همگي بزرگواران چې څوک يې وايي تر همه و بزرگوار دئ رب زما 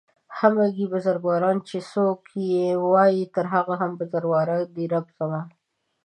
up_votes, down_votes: 1, 2